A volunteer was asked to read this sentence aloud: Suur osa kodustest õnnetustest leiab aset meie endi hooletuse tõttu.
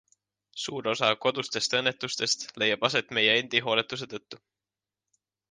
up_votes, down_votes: 2, 0